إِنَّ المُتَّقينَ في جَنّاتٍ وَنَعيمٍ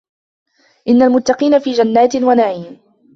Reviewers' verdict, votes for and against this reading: accepted, 2, 0